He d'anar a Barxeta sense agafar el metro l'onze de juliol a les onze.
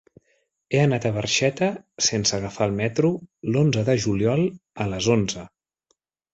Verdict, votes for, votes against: rejected, 0, 3